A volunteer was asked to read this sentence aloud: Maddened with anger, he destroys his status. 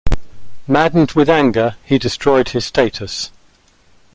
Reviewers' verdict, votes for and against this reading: rejected, 1, 2